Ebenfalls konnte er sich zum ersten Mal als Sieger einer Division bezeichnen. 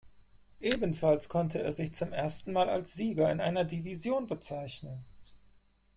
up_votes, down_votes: 2, 4